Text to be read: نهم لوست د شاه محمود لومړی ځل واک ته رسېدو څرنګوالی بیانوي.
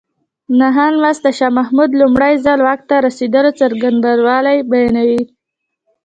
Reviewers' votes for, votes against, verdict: 1, 2, rejected